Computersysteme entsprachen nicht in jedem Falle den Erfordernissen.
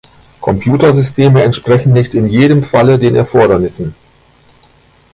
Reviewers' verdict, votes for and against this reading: rejected, 0, 2